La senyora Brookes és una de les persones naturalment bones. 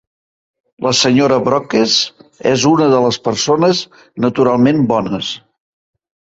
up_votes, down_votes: 1, 2